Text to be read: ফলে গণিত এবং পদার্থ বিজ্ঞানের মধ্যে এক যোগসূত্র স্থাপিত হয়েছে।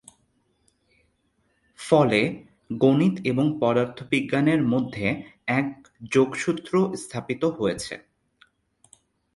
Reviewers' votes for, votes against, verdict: 2, 0, accepted